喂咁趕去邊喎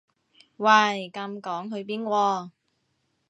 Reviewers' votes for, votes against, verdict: 2, 0, accepted